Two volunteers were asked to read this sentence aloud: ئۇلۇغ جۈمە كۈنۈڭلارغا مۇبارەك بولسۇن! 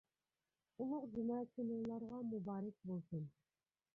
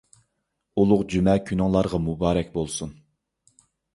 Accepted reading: second